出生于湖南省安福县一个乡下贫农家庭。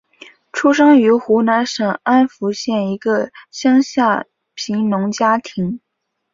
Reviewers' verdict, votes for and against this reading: accepted, 2, 0